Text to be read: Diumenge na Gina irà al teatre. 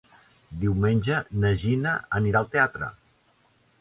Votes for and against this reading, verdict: 0, 2, rejected